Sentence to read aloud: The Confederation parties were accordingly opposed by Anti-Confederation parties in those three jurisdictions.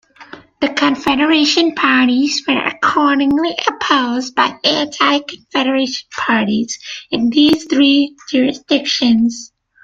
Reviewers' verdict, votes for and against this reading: rejected, 1, 2